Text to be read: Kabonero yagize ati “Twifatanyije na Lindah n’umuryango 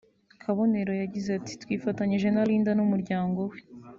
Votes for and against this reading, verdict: 1, 2, rejected